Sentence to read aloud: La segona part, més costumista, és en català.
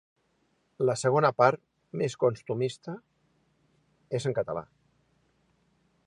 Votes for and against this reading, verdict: 2, 0, accepted